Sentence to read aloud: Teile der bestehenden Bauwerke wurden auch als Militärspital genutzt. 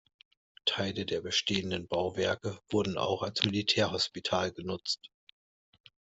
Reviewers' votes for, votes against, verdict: 0, 2, rejected